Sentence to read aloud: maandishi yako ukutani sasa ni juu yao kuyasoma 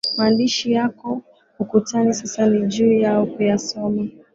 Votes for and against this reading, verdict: 2, 0, accepted